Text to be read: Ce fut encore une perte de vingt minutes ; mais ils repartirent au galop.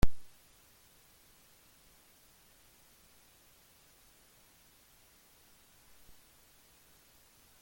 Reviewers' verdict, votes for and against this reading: rejected, 0, 2